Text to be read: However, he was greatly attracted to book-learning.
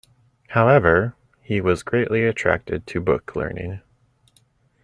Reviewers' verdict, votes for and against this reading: accepted, 2, 0